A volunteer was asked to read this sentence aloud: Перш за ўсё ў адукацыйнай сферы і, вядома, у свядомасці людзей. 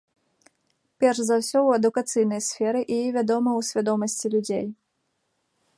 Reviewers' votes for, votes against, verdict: 1, 2, rejected